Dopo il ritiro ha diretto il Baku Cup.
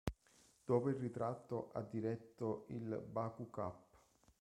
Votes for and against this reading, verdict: 0, 3, rejected